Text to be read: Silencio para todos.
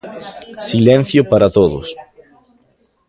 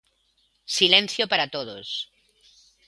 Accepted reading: second